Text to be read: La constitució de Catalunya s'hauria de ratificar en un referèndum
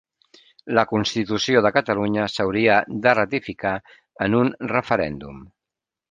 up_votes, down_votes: 3, 0